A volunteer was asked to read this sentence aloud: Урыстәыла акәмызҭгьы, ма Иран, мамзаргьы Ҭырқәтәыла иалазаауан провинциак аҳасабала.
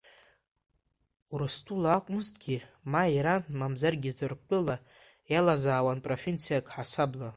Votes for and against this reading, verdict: 2, 0, accepted